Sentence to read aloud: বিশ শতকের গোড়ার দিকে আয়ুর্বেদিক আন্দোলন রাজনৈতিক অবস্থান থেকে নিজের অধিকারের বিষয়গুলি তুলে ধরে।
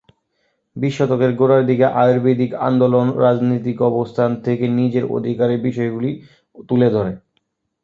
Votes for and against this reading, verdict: 2, 0, accepted